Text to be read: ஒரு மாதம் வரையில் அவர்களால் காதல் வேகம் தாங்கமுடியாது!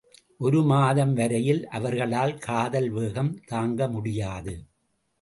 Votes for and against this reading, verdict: 2, 0, accepted